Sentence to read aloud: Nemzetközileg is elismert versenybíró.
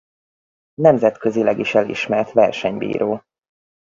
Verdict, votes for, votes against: rejected, 2, 2